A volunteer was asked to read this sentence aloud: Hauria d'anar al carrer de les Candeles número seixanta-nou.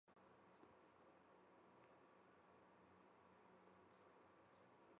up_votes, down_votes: 0, 3